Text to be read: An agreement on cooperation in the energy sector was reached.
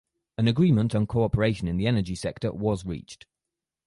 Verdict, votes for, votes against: accepted, 4, 0